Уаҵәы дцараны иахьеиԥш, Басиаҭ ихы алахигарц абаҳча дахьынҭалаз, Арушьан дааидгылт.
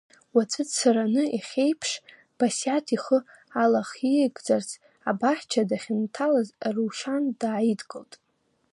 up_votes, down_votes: 0, 2